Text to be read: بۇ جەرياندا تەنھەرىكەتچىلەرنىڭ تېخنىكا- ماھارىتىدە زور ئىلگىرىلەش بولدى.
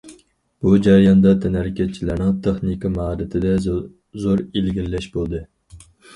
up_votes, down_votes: 2, 4